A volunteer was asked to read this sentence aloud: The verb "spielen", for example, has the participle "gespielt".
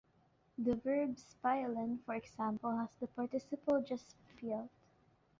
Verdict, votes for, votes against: rejected, 0, 2